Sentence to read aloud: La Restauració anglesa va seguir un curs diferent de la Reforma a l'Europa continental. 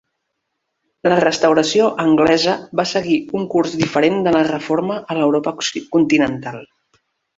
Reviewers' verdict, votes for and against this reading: rejected, 0, 2